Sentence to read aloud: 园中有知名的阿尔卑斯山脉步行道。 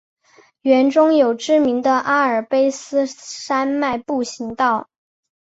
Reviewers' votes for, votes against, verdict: 2, 0, accepted